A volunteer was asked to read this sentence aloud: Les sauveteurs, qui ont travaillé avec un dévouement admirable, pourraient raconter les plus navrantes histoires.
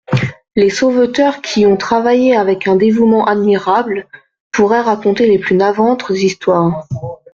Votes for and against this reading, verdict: 0, 2, rejected